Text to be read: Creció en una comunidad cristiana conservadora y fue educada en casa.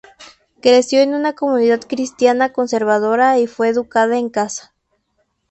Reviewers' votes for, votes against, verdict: 6, 0, accepted